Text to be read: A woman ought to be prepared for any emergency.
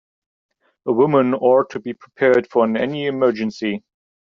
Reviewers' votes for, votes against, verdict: 1, 2, rejected